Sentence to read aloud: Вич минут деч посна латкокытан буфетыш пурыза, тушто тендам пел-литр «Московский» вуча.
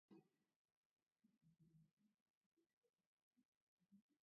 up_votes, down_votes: 1, 2